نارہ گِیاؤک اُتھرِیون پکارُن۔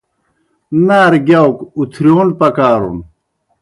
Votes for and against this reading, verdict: 2, 0, accepted